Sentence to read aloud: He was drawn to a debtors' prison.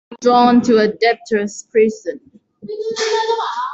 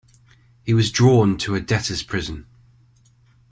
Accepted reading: second